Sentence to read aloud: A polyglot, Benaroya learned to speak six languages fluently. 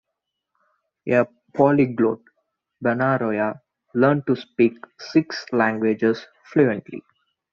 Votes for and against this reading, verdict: 3, 0, accepted